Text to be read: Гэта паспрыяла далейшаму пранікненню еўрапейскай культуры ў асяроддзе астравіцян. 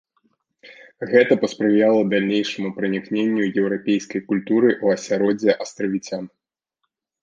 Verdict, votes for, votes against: accepted, 3, 1